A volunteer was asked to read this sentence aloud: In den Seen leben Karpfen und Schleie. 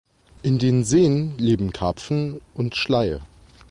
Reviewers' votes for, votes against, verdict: 2, 0, accepted